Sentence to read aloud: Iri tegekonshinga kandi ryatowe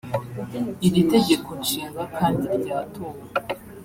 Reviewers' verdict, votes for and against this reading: accepted, 2, 1